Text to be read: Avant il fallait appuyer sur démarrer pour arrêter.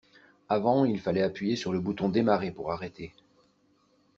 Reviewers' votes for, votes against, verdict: 0, 2, rejected